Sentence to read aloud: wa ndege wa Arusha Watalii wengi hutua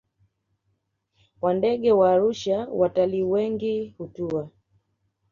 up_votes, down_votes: 2, 0